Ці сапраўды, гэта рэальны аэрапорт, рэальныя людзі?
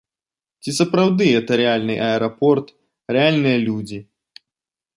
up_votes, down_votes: 1, 2